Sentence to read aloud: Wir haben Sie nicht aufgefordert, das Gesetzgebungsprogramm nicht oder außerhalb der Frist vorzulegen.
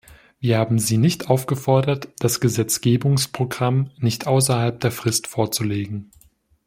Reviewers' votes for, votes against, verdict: 1, 2, rejected